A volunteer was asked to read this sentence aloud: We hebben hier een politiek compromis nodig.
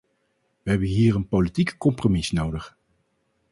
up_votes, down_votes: 4, 0